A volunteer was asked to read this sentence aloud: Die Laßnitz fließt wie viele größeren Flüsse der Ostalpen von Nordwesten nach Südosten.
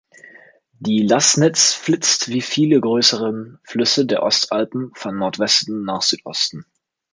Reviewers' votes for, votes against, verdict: 0, 2, rejected